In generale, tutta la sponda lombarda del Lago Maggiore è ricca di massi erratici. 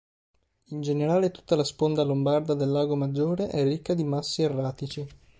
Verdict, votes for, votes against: accepted, 4, 0